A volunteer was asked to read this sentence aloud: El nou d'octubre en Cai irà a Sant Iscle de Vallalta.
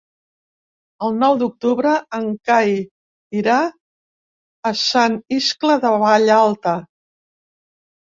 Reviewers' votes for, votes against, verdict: 6, 0, accepted